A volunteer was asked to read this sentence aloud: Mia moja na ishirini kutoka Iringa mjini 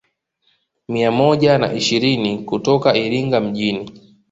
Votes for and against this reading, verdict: 2, 0, accepted